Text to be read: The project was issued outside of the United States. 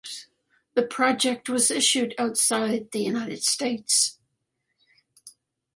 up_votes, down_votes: 1, 2